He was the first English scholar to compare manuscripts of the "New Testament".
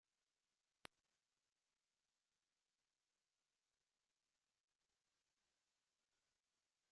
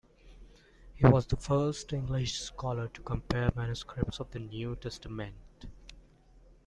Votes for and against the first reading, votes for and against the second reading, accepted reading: 0, 2, 2, 0, second